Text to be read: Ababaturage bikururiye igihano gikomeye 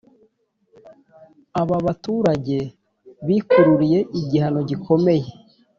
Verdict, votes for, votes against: accepted, 2, 0